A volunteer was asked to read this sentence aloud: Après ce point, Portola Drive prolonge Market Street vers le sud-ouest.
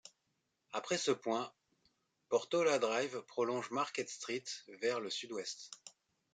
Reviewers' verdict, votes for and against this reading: accepted, 2, 0